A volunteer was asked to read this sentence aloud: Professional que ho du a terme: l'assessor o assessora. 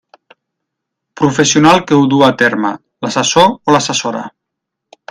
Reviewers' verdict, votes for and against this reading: rejected, 0, 2